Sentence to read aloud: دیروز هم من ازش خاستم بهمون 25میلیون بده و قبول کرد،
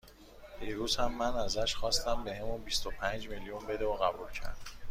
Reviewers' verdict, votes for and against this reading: rejected, 0, 2